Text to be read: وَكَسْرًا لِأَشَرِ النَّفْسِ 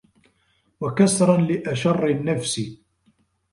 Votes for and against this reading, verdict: 0, 2, rejected